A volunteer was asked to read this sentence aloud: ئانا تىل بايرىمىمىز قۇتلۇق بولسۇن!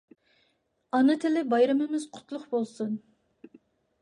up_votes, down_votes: 0, 2